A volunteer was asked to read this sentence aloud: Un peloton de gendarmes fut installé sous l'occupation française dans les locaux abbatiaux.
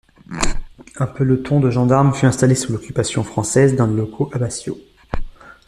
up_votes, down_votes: 1, 2